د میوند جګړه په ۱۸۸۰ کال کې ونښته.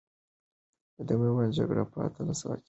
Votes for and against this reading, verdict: 0, 2, rejected